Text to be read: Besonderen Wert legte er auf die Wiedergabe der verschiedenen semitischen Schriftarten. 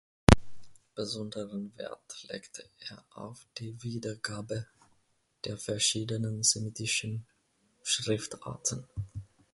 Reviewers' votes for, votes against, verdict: 2, 0, accepted